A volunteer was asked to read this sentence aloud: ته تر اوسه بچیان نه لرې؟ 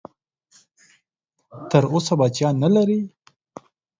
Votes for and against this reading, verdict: 2, 4, rejected